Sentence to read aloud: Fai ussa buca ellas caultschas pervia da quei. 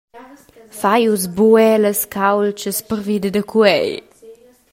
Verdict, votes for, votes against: rejected, 0, 2